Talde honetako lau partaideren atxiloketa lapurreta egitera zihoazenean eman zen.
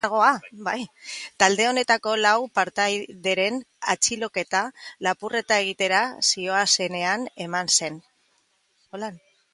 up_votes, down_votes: 0, 2